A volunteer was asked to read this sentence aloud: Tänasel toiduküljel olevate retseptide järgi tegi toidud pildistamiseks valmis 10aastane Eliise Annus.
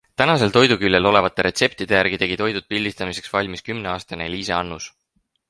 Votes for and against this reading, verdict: 0, 2, rejected